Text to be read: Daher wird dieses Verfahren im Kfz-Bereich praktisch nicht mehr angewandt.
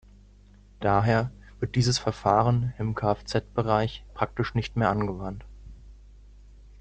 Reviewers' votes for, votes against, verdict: 2, 0, accepted